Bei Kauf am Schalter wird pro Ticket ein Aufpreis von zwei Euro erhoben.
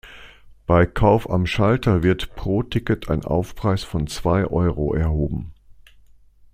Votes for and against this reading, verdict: 2, 0, accepted